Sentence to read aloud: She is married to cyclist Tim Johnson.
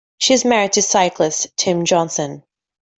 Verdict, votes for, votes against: accepted, 2, 0